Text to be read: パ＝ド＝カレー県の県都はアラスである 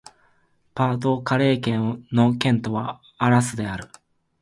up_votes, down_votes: 2, 0